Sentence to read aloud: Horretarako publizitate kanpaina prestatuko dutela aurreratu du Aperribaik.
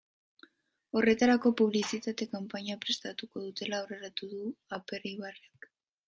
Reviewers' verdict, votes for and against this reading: rejected, 0, 2